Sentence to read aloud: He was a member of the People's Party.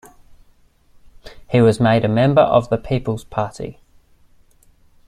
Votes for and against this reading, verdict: 1, 2, rejected